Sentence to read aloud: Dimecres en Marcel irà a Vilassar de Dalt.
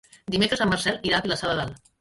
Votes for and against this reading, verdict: 0, 2, rejected